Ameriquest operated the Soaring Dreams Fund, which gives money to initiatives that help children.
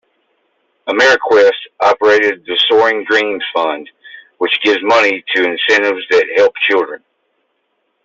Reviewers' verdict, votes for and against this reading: rejected, 1, 2